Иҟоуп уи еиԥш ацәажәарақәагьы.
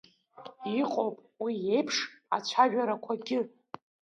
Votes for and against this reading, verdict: 2, 1, accepted